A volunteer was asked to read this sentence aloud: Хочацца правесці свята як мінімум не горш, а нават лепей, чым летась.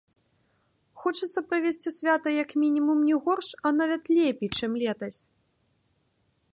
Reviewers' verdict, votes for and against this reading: rejected, 0, 2